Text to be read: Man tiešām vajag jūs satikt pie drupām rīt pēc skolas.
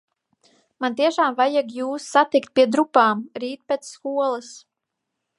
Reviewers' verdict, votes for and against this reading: accepted, 4, 0